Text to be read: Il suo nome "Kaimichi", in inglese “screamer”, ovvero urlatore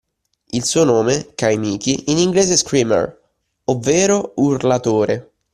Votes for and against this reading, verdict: 2, 0, accepted